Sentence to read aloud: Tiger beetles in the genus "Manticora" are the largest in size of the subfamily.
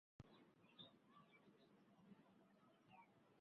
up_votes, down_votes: 0, 2